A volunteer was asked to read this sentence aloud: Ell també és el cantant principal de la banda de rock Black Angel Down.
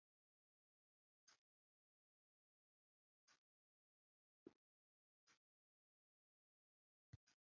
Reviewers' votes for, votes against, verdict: 0, 2, rejected